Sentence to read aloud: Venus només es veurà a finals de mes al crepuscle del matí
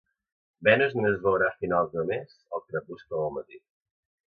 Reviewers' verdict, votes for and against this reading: rejected, 1, 2